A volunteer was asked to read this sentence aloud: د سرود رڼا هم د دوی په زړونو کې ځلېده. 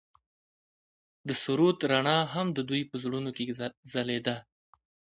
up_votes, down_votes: 3, 0